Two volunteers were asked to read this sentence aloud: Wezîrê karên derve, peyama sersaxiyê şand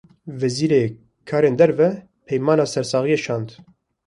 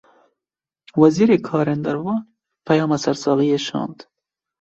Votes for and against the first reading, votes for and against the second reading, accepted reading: 1, 2, 2, 0, second